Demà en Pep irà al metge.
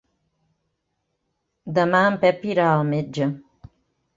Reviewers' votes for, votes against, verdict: 3, 0, accepted